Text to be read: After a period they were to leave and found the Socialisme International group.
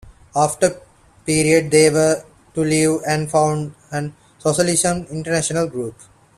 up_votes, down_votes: 0, 2